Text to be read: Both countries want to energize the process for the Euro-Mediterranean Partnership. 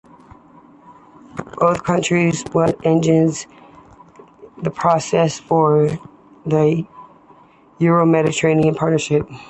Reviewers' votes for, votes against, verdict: 0, 2, rejected